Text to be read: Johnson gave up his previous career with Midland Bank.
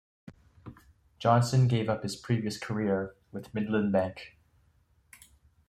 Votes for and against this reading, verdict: 3, 0, accepted